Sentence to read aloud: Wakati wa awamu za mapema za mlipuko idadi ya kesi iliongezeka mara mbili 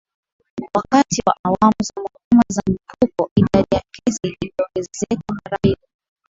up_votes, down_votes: 2, 0